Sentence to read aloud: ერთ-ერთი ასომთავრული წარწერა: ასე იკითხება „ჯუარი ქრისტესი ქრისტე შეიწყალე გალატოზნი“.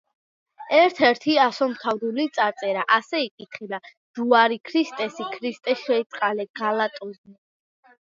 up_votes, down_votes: 2, 1